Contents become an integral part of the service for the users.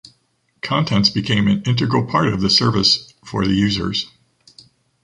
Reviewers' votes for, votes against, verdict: 1, 2, rejected